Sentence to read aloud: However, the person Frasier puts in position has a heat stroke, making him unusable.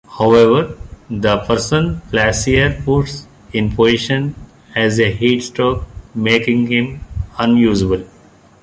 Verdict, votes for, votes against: rejected, 1, 2